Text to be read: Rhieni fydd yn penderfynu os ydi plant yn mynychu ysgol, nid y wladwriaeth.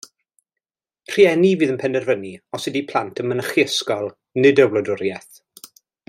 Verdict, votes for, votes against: accepted, 2, 0